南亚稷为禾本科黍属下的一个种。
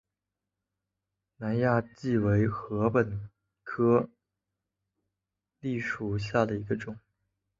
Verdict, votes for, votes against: accepted, 2, 1